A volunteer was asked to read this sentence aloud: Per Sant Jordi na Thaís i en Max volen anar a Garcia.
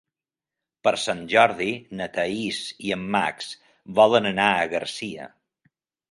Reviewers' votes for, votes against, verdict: 2, 0, accepted